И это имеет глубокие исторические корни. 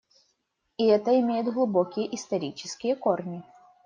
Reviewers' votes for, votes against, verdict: 2, 0, accepted